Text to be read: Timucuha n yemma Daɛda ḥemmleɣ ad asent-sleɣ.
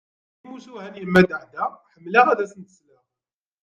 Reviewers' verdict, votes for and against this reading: rejected, 1, 2